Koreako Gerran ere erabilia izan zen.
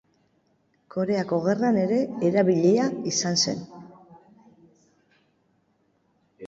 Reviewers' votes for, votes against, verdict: 3, 0, accepted